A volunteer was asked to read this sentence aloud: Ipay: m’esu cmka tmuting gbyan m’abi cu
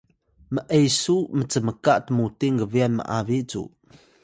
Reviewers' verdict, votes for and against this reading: accepted, 2, 0